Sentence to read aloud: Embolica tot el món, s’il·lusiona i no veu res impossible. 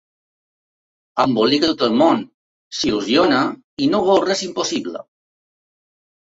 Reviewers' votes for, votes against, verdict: 2, 0, accepted